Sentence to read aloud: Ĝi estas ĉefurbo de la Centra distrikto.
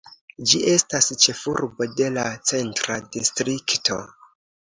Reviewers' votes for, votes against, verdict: 2, 0, accepted